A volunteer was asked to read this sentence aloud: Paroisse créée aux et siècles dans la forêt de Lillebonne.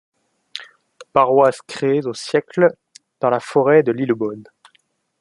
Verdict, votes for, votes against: accepted, 2, 0